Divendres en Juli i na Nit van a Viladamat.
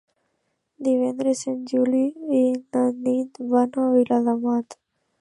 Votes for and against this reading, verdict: 2, 0, accepted